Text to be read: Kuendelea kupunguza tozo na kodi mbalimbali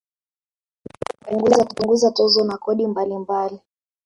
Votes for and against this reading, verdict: 0, 2, rejected